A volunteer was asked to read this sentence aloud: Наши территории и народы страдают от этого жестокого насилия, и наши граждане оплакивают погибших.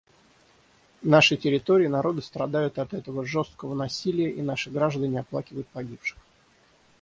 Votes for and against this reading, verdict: 3, 3, rejected